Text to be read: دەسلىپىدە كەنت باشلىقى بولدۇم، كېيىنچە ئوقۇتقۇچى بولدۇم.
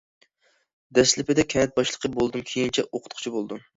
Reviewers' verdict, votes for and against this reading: accepted, 2, 0